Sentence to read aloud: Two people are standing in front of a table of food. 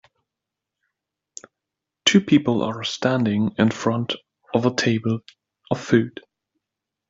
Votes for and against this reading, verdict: 3, 0, accepted